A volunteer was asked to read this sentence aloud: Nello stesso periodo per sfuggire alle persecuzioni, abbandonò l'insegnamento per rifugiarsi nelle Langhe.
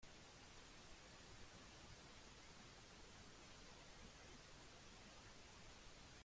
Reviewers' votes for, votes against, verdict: 0, 2, rejected